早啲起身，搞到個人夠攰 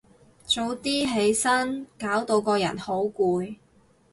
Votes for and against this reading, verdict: 0, 4, rejected